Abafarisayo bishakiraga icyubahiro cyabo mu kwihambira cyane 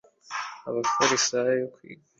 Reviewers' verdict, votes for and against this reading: rejected, 0, 2